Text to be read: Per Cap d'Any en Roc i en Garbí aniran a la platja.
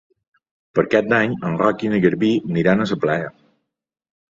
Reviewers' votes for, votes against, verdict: 0, 2, rejected